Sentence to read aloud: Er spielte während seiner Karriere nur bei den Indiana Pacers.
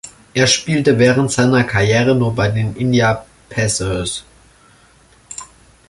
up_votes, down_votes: 0, 2